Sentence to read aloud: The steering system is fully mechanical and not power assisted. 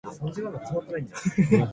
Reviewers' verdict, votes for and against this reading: rejected, 0, 2